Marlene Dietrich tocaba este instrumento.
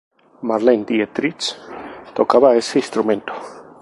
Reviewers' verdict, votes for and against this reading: rejected, 0, 2